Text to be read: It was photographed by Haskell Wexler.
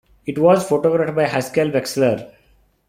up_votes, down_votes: 2, 0